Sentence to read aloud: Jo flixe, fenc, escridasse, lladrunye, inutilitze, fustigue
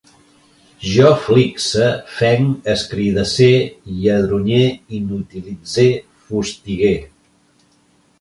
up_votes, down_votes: 1, 2